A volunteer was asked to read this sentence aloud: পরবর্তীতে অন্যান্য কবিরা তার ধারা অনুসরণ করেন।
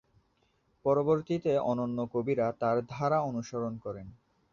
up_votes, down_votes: 1, 2